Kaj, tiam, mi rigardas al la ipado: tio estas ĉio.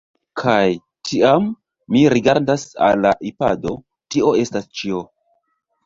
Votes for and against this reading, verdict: 2, 4, rejected